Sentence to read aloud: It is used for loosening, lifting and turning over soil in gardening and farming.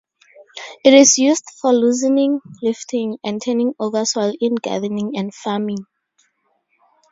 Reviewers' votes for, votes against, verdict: 2, 0, accepted